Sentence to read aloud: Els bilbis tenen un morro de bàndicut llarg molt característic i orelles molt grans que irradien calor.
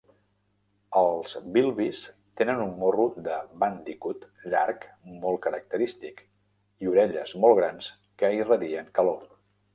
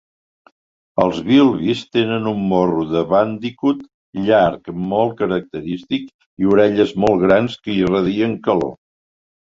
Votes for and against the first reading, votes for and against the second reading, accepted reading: 1, 2, 2, 0, second